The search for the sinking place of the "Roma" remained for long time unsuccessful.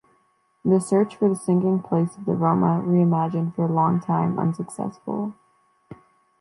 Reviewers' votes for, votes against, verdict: 0, 3, rejected